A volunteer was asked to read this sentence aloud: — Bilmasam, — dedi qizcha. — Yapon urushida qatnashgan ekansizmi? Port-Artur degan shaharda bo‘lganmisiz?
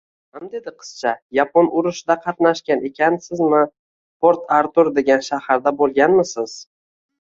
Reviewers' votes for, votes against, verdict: 1, 2, rejected